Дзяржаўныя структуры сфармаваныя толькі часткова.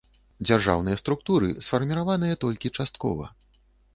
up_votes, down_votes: 0, 2